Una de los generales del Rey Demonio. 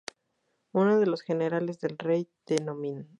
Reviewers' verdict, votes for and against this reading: rejected, 0, 2